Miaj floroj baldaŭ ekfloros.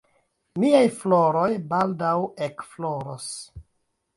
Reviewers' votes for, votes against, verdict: 2, 1, accepted